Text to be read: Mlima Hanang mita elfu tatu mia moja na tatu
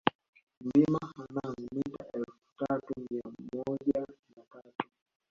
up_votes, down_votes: 1, 2